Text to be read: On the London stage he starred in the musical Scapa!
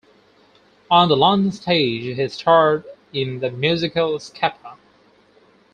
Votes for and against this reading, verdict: 2, 4, rejected